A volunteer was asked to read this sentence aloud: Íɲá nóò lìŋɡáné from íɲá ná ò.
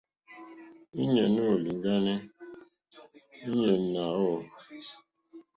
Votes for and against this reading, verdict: 2, 0, accepted